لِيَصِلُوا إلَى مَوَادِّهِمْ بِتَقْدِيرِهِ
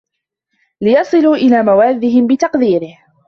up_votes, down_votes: 2, 1